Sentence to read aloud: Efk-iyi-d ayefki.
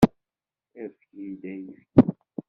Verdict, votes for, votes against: rejected, 1, 2